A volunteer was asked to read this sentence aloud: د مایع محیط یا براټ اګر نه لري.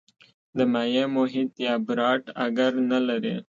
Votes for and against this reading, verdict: 2, 0, accepted